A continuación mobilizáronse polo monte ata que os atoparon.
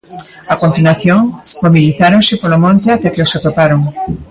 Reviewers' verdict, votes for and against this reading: accepted, 2, 1